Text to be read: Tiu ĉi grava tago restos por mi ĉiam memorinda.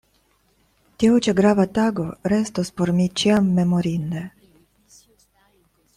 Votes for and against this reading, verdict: 1, 2, rejected